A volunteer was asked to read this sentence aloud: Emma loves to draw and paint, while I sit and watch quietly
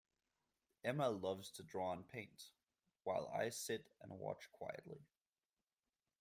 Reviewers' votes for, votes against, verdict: 2, 0, accepted